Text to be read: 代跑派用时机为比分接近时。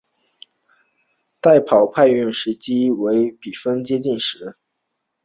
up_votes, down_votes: 2, 0